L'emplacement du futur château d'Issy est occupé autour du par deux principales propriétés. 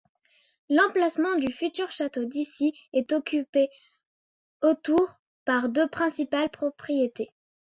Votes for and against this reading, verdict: 0, 2, rejected